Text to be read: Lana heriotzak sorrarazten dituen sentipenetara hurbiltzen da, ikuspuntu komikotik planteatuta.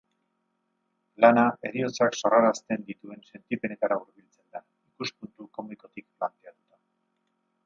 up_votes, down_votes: 2, 2